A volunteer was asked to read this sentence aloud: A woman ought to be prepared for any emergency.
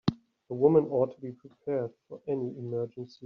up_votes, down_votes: 2, 1